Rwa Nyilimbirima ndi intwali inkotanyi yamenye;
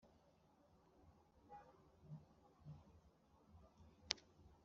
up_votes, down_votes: 2, 1